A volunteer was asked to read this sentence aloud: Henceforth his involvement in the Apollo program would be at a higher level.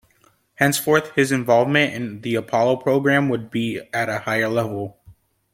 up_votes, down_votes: 2, 0